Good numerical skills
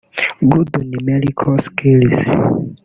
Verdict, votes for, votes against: rejected, 1, 2